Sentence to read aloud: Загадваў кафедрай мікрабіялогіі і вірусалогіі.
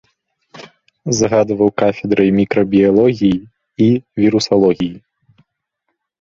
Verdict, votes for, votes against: accepted, 2, 0